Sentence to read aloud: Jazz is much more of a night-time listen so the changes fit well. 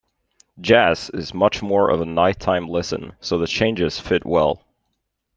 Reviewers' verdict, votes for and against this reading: accepted, 2, 0